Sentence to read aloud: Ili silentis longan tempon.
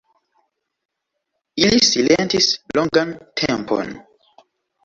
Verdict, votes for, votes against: accepted, 2, 0